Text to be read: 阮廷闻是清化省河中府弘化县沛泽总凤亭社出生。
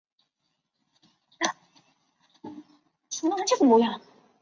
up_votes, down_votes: 0, 2